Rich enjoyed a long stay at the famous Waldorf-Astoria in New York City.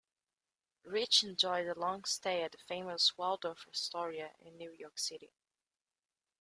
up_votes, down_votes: 2, 0